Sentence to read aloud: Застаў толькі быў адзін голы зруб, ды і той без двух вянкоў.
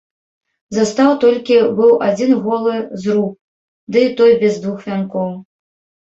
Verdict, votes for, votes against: rejected, 1, 2